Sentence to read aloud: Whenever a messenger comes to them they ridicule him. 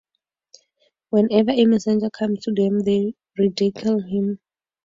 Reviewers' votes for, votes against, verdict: 0, 2, rejected